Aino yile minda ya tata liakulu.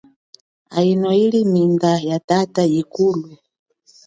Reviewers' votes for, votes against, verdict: 1, 2, rejected